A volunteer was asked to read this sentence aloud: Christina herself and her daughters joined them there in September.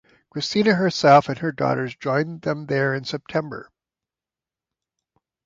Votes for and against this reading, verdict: 2, 0, accepted